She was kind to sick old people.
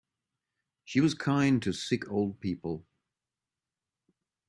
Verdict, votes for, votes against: accepted, 2, 0